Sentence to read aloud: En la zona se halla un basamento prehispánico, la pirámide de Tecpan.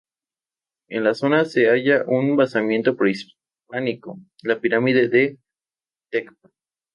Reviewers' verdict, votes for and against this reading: accepted, 2, 0